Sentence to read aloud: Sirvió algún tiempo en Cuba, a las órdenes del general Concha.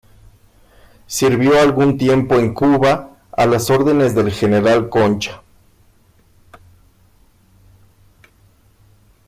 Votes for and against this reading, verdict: 2, 0, accepted